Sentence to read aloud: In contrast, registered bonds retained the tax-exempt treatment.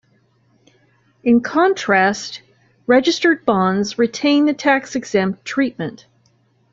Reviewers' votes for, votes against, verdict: 2, 0, accepted